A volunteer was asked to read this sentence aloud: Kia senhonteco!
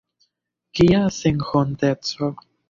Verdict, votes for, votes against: rejected, 1, 2